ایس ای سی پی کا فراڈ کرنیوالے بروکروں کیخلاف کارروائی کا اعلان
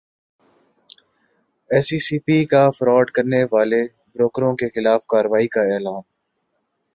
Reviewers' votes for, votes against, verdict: 4, 0, accepted